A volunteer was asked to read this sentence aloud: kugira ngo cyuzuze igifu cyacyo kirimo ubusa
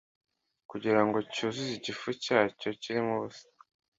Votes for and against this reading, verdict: 2, 0, accepted